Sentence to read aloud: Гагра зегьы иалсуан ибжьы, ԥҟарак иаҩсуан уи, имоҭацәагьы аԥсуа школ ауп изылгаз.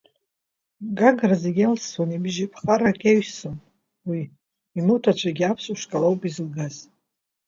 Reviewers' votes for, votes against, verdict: 2, 0, accepted